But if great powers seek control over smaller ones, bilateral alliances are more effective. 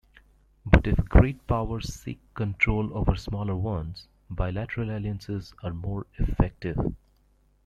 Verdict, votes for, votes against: accepted, 2, 0